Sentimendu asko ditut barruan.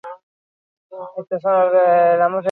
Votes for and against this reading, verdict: 0, 4, rejected